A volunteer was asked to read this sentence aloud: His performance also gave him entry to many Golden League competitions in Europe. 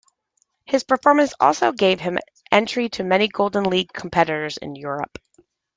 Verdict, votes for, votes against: accepted, 2, 0